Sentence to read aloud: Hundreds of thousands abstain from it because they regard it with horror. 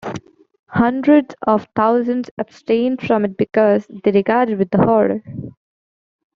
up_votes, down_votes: 2, 0